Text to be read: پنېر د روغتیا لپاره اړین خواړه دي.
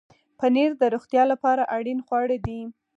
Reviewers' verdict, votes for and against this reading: rejected, 2, 4